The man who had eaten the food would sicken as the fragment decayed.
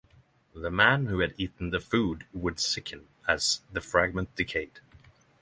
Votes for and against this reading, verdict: 3, 0, accepted